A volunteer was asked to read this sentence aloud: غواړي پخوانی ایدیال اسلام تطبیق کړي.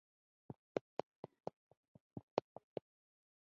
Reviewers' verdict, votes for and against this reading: rejected, 0, 2